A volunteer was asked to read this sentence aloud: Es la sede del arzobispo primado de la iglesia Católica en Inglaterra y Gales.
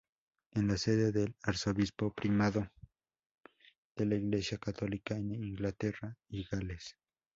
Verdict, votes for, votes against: rejected, 0, 2